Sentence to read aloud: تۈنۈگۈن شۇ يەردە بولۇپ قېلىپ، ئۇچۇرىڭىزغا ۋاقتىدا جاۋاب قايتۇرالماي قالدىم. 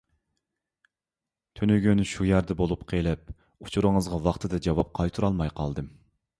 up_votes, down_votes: 2, 0